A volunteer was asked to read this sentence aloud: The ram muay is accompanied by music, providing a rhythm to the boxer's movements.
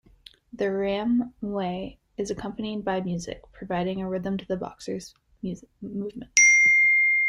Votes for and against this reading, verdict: 0, 2, rejected